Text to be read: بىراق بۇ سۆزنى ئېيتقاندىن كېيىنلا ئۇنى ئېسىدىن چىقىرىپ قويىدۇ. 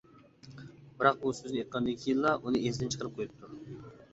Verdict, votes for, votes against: rejected, 1, 2